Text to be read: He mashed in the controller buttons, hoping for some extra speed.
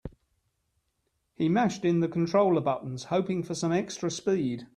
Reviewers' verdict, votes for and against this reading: accepted, 3, 0